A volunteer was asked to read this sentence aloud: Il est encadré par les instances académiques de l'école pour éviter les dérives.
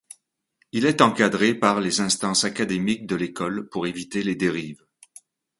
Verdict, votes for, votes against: accepted, 2, 0